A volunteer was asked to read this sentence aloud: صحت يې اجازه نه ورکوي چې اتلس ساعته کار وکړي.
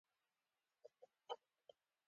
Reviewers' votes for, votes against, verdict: 1, 2, rejected